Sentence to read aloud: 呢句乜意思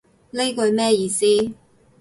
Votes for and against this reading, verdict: 0, 2, rejected